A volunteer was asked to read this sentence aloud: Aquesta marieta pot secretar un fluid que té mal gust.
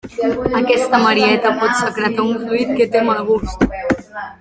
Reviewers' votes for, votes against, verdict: 2, 1, accepted